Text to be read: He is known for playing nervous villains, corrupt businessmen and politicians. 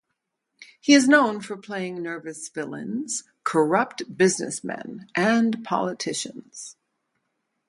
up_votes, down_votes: 0, 2